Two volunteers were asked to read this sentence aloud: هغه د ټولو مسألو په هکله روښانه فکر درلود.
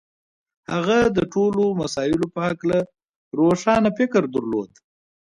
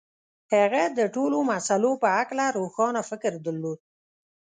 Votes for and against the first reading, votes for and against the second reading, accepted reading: 2, 1, 1, 2, first